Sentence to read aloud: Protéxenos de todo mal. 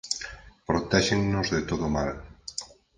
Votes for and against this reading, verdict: 0, 4, rejected